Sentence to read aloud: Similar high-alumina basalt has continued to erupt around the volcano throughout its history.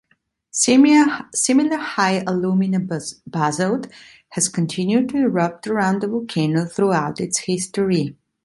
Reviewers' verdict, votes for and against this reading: rejected, 0, 2